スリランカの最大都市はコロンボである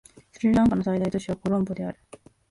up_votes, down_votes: 2, 0